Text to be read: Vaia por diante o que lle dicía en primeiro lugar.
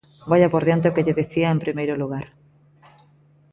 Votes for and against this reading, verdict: 2, 0, accepted